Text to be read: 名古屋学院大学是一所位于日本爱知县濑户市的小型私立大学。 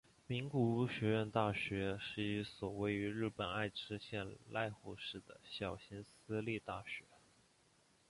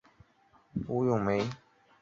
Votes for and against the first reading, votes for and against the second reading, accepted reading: 2, 0, 0, 2, first